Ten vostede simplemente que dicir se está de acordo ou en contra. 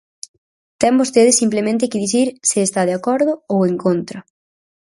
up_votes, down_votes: 4, 0